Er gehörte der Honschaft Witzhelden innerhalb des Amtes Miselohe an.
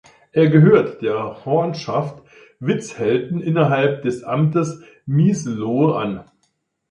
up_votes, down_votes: 1, 2